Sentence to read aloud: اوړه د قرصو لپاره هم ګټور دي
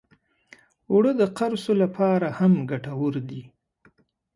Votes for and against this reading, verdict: 2, 0, accepted